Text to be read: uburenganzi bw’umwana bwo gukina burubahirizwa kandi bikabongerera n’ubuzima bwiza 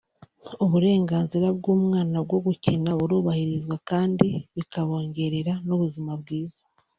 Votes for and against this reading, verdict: 1, 2, rejected